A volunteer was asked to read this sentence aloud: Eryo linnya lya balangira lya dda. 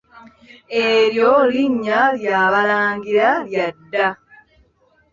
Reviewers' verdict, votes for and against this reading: accepted, 2, 0